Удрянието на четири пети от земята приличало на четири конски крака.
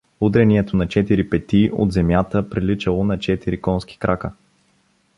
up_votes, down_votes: 2, 0